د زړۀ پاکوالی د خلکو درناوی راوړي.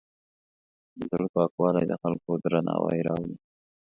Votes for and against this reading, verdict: 2, 0, accepted